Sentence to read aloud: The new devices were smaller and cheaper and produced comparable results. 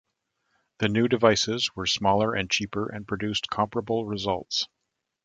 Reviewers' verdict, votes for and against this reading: accepted, 2, 0